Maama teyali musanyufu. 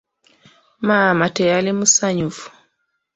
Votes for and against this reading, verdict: 2, 0, accepted